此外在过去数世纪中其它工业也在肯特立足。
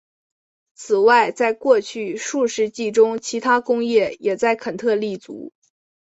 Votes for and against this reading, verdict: 2, 1, accepted